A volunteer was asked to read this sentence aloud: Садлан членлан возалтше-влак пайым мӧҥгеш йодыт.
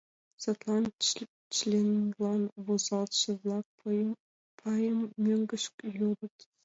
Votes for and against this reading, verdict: 2, 0, accepted